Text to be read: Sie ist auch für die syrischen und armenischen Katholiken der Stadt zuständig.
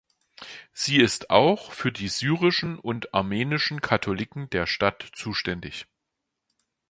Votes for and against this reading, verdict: 2, 0, accepted